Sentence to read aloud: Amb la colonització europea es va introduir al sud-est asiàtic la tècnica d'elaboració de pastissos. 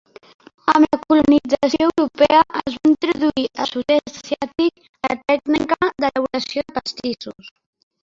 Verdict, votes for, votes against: rejected, 0, 2